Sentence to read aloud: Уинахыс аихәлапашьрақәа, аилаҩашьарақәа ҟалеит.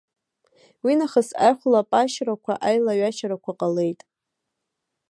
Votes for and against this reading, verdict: 2, 1, accepted